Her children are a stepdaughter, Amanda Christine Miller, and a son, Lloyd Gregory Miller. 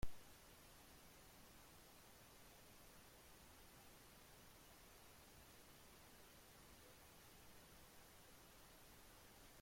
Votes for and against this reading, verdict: 0, 2, rejected